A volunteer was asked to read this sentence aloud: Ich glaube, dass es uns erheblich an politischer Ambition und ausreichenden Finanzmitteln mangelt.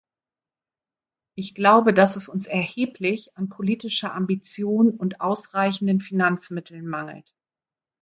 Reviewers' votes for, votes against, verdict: 2, 0, accepted